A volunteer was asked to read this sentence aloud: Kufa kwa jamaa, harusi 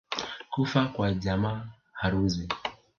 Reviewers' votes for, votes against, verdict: 1, 2, rejected